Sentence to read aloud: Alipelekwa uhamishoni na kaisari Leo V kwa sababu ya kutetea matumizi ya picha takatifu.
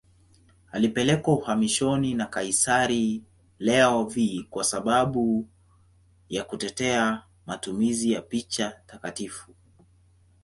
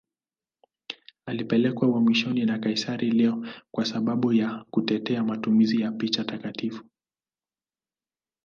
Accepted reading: second